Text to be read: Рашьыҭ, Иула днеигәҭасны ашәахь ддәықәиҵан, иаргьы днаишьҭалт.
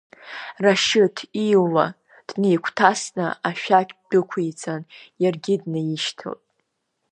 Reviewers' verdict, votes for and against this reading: rejected, 1, 2